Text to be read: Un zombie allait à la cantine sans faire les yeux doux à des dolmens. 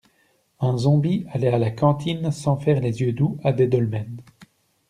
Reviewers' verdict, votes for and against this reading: accepted, 2, 0